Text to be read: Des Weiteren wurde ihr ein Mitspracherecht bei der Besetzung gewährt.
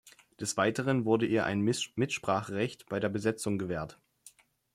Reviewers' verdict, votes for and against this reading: rejected, 0, 2